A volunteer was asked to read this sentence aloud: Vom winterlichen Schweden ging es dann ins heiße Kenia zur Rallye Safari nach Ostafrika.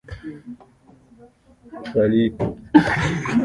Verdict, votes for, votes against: rejected, 0, 2